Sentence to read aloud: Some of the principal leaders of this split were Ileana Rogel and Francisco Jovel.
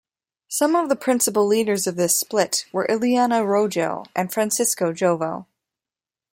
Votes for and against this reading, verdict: 2, 0, accepted